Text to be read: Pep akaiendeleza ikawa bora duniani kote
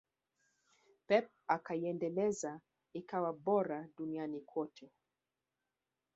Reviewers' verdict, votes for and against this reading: accepted, 3, 1